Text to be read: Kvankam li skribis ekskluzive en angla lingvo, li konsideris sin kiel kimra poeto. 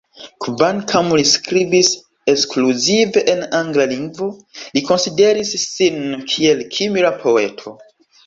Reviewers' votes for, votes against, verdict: 3, 2, accepted